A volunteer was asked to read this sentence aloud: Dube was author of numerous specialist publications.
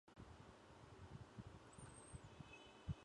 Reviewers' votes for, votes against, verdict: 0, 2, rejected